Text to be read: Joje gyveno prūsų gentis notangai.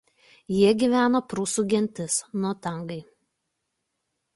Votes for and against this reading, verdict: 0, 2, rejected